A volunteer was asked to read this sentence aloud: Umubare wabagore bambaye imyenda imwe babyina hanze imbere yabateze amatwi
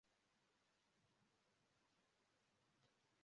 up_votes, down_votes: 0, 2